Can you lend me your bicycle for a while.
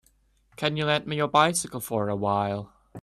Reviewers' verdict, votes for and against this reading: accepted, 3, 0